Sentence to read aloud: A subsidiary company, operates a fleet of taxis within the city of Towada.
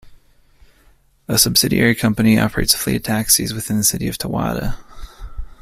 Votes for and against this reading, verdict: 2, 0, accepted